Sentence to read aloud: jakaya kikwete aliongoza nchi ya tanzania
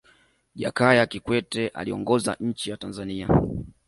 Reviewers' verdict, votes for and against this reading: accepted, 2, 1